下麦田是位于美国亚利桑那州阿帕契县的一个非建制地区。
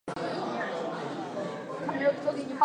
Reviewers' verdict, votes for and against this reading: rejected, 0, 3